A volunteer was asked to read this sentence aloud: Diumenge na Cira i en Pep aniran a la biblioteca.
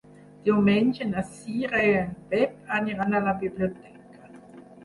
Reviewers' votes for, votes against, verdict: 6, 2, accepted